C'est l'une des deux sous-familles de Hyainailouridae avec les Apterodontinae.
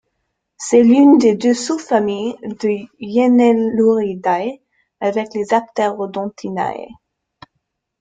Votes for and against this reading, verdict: 2, 0, accepted